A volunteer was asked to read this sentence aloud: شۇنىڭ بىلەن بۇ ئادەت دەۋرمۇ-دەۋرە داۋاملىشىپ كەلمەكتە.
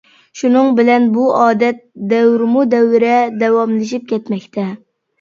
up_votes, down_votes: 1, 2